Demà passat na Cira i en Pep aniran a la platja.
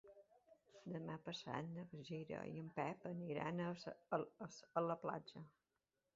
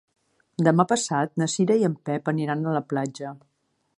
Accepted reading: second